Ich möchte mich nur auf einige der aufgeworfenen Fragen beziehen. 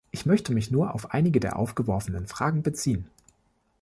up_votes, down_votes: 3, 0